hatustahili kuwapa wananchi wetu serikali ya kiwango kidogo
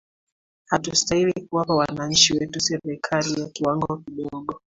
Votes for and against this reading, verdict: 2, 0, accepted